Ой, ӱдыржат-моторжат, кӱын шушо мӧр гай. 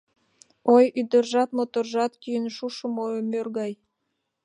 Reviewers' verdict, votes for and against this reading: rejected, 0, 2